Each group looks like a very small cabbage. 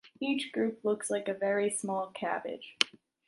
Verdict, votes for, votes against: accepted, 2, 0